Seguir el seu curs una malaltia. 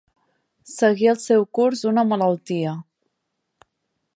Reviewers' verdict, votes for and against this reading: accepted, 3, 1